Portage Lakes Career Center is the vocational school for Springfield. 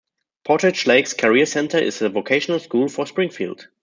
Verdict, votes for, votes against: accepted, 2, 0